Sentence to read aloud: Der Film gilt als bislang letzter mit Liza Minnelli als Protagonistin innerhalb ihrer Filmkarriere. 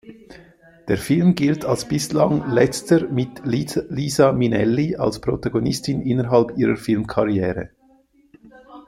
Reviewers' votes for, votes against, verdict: 0, 2, rejected